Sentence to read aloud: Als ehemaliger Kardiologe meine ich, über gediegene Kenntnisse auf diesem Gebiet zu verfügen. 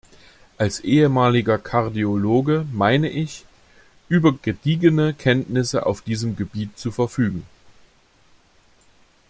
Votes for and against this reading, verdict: 2, 0, accepted